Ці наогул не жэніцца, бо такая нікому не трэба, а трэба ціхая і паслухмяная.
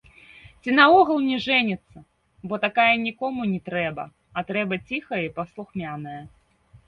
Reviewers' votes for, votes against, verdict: 1, 2, rejected